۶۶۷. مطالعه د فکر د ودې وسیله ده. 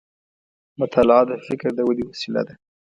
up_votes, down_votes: 0, 2